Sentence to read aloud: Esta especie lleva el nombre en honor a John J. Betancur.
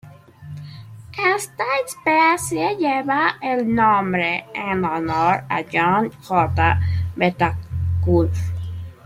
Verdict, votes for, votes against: rejected, 1, 2